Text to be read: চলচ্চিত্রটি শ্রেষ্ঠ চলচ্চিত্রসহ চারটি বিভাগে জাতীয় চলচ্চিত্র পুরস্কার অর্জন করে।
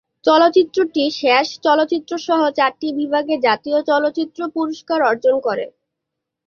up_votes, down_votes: 0, 3